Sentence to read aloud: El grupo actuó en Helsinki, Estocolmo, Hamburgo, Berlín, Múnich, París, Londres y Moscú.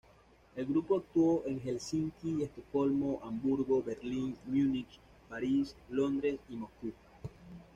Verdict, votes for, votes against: rejected, 0, 2